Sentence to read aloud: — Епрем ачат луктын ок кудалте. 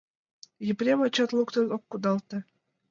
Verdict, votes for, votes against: accepted, 2, 0